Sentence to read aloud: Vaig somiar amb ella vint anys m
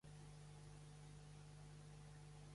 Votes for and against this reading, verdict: 0, 2, rejected